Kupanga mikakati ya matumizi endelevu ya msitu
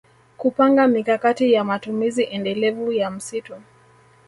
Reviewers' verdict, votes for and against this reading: accepted, 2, 0